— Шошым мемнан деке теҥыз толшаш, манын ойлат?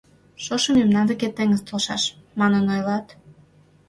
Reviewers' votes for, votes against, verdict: 2, 0, accepted